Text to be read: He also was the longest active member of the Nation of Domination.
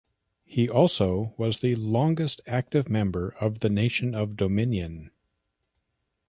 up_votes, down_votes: 1, 2